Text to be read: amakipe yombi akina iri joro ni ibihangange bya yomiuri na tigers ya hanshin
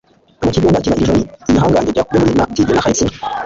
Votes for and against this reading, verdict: 1, 2, rejected